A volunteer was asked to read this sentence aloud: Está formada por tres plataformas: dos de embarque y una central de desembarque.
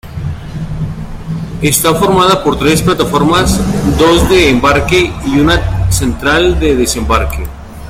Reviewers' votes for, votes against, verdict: 1, 2, rejected